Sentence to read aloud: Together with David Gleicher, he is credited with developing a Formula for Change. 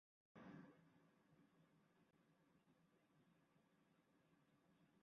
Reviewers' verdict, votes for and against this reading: rejected, 0, 2